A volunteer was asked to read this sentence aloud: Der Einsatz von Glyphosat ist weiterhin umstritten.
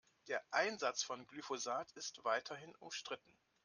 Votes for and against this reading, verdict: 2, 0, accepted